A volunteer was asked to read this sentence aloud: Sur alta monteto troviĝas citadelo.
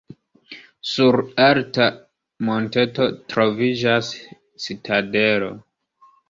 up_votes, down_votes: 1, 2